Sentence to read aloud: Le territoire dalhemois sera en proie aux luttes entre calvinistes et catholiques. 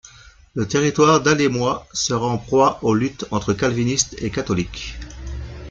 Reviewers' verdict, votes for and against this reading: accepted, 2, 1